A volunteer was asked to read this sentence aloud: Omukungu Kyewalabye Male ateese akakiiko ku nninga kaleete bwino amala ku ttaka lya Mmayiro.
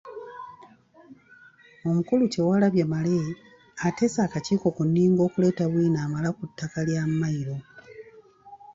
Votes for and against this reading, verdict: 0, 2, rejected